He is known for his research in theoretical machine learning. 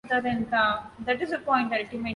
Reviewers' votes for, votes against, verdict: 0, 2, rejected